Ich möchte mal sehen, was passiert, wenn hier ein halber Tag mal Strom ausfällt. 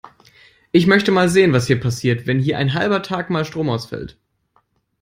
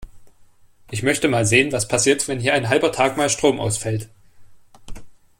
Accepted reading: second